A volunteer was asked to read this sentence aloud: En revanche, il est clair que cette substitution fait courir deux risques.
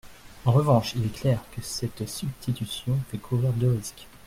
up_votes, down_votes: 1, 2